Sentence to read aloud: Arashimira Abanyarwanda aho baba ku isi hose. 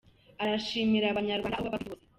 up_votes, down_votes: 0, 3